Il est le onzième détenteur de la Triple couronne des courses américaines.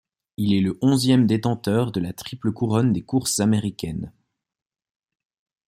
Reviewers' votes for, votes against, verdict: 2, 0, accepted